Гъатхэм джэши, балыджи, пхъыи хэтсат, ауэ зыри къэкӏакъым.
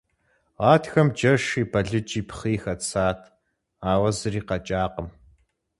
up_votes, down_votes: 4, 0